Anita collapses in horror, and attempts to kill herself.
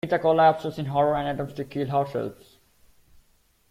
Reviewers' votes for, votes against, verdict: 0, 2, rejected